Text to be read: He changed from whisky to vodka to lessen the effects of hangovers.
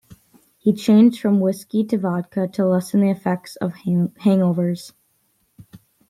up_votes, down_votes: 1, 2